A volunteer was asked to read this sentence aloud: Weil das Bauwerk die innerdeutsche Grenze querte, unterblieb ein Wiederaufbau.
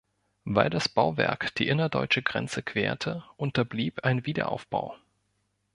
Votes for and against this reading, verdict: 2, 0, accepted